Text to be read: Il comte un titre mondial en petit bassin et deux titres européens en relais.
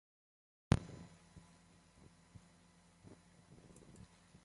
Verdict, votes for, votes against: accepted, 2, 1